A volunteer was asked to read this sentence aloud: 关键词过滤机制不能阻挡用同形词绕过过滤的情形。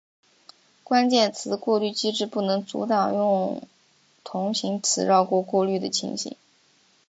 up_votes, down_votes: 6, 0